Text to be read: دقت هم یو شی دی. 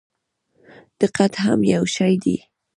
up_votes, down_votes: 1, 2